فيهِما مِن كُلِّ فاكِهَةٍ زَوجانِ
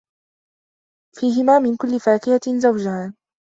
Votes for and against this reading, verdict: 2, 0, accepted